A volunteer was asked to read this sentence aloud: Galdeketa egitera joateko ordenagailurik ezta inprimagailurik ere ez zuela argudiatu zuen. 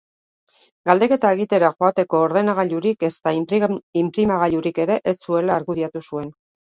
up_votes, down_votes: 0, 2